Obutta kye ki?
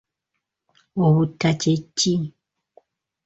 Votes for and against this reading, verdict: 2, 0, accepted